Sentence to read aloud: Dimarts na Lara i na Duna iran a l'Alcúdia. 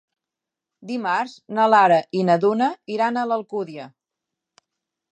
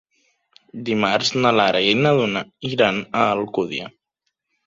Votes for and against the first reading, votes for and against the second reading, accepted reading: 3, 0, 1, 2, first